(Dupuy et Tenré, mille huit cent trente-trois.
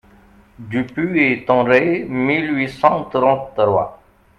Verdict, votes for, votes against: rejected, 1, 2